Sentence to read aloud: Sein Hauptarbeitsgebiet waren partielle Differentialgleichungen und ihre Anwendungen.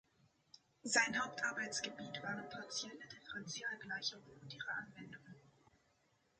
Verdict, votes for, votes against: accepted, 2, 0